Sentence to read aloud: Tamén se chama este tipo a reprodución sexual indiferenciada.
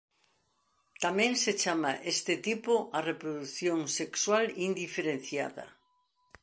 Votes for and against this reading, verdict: 3, 0, accepted